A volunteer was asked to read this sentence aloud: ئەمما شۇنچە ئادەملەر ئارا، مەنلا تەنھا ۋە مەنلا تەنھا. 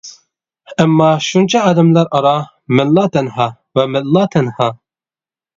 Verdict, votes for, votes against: accepted, 2, 0